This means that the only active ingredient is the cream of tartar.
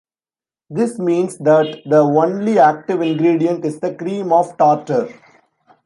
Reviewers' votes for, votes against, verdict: 0, 2, rejected